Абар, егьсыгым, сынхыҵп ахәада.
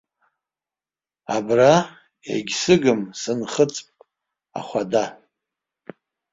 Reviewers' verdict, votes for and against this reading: rejected, 1, 2